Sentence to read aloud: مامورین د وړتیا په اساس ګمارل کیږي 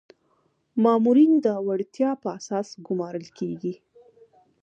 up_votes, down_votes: 2, 0